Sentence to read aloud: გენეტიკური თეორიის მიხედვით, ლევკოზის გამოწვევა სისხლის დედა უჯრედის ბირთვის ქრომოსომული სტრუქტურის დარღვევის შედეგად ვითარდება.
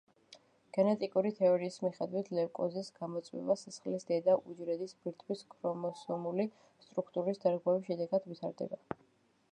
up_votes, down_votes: 1, 2